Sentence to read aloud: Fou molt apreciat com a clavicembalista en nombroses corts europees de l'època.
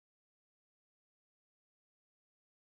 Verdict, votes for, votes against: rejected, 0, 2